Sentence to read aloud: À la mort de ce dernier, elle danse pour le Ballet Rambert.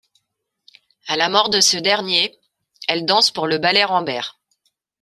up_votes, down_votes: 2, 0